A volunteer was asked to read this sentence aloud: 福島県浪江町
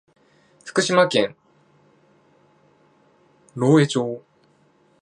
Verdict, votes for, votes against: rejected, 0, 2